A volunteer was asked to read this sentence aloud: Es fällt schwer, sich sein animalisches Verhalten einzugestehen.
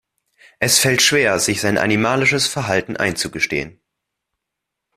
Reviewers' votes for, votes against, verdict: 2, 0, accepted